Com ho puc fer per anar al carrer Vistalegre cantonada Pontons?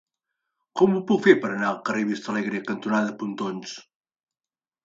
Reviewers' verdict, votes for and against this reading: accepted, 3, 1